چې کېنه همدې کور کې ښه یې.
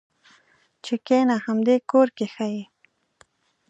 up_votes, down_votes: 2, 0